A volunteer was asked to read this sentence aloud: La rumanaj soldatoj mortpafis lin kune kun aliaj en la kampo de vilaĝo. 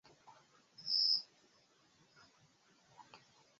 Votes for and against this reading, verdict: 0, 2, rejected